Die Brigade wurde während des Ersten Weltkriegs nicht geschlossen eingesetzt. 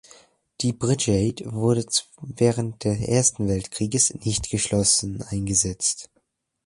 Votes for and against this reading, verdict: 0, 2, rejected